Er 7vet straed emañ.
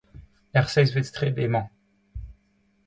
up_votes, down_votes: 0, 2